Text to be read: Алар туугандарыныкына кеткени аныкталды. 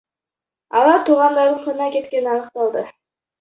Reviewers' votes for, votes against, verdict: 1, 2, rejected